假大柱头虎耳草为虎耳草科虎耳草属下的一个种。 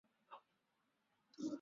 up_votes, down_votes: 0, 3